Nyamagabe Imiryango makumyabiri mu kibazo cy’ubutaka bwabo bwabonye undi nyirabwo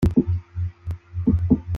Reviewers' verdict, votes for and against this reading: rejected, 0, 2